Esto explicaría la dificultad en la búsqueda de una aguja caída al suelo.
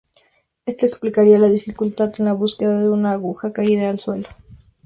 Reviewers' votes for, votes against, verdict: 2, 0, accepted